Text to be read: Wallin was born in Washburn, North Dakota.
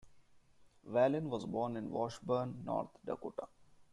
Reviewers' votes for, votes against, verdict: 2, 0, accepted